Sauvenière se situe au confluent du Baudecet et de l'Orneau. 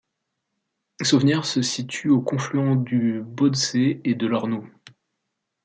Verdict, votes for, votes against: accepted, 2, 0